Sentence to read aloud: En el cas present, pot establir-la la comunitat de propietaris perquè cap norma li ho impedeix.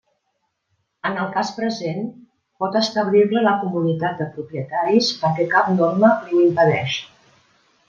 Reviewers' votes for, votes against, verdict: 2, 0, accepted